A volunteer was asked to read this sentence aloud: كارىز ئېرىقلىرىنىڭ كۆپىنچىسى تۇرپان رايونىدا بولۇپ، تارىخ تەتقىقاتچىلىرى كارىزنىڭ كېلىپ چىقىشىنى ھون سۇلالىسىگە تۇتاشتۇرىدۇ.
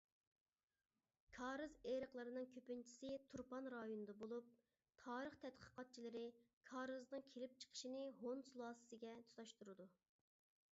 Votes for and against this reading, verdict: 1, 2, rejected